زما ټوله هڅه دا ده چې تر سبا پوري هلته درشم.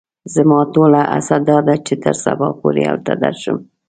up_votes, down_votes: 2, 0